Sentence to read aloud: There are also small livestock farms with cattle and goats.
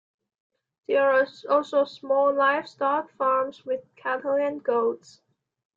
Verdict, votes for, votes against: rejected, 1, 2